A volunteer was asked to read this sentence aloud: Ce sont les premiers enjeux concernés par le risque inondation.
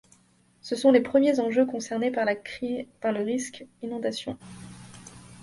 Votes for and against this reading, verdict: 0, 2, rejected